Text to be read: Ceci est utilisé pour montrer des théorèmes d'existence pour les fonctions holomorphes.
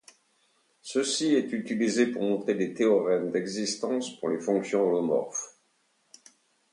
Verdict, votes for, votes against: accepted, 2, 0